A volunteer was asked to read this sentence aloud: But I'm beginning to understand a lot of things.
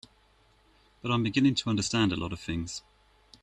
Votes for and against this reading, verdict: 2, 0, accepted